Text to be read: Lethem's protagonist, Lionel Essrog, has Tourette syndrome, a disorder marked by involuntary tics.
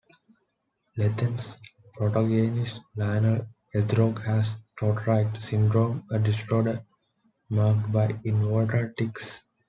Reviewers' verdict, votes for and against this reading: rejected, 1, 2